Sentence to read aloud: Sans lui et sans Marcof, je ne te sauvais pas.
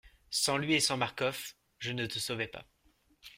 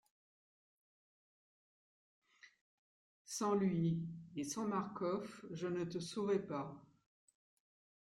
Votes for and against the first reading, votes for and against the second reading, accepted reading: 2, 0, 1, 2, first